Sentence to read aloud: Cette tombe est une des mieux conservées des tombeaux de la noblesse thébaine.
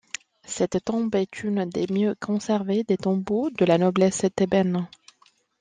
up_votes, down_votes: 2, 0